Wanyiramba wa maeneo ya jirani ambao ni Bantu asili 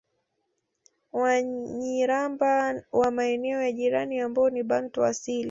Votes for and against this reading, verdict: 2, 0, accepted